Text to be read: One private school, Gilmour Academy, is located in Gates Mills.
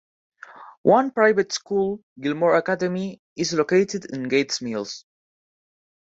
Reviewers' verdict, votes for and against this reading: accepted, 2, 0